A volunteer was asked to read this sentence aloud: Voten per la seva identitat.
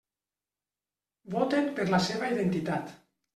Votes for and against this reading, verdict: 3, 0, accepted